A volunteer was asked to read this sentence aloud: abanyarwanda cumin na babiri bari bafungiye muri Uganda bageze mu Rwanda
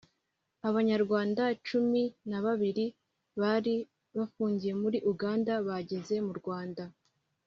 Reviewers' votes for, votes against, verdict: 2, 0, accepted